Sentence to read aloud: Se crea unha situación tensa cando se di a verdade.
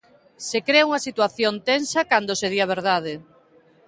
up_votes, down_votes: 2, 0